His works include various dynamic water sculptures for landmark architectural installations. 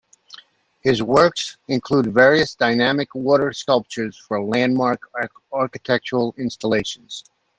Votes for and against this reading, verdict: 1, 2, rejected